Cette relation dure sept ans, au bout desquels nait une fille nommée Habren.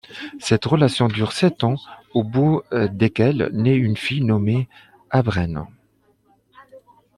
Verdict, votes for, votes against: accepted, 2, 1